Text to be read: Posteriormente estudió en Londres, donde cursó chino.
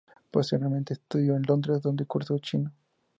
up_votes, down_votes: 2, 0